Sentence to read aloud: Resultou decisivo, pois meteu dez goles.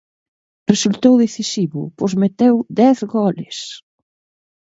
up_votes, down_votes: 2, 0